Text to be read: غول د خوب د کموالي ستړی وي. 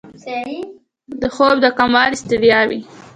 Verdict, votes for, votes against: accepted, 2, 0